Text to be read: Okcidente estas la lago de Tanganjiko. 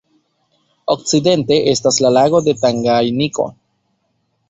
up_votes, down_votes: 0, 2